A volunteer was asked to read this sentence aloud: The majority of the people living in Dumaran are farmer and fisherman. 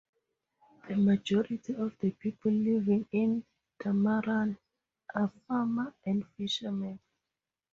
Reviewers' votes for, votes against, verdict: 2, 0, accepted